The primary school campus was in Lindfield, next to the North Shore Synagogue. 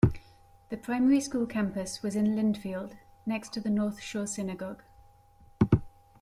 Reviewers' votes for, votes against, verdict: 2, 0, accepted